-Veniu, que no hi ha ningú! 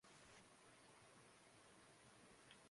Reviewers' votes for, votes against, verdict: 0, 2, rejected